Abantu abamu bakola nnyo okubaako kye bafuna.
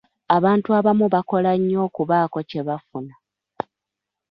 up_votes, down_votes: 3, 0